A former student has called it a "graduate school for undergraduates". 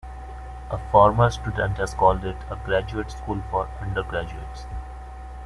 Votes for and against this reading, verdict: 2, 1, accepted